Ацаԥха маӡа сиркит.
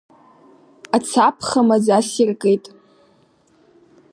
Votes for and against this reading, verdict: 0, 2, rejected